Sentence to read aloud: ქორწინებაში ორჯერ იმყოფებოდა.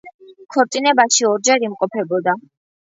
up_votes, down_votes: 2, 0